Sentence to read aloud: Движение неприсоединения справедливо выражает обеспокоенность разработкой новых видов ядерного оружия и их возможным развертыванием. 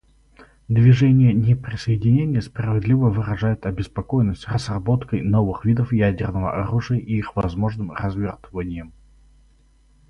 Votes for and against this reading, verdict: 0, 2, rejected